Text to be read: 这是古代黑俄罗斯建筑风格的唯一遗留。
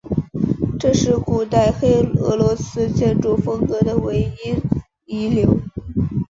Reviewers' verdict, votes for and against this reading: accepted, 3, 0